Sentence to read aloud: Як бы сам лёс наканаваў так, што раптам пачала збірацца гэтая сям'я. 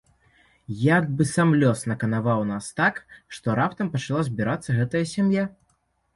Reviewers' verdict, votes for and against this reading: rejected, 1, 2